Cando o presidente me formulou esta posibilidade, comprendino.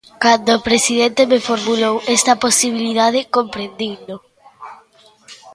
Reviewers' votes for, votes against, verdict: 0, 2, rejected